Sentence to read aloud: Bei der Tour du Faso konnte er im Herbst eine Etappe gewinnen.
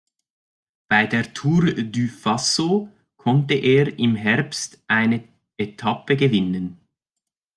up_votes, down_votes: 2, 0